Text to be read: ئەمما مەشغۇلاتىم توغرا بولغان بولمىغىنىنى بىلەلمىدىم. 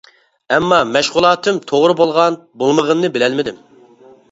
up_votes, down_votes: 2, 0